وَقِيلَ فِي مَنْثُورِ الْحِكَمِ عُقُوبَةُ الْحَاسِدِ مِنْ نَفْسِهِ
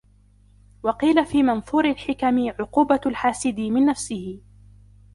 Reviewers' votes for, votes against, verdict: 2, 0, accepted